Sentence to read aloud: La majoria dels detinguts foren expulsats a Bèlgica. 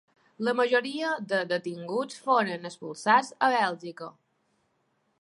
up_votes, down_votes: 1, 2